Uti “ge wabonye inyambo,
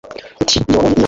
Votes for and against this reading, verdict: 1, 2, rejected